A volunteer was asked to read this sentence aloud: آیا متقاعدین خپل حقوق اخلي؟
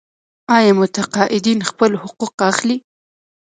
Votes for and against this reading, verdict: 2, 3, rejected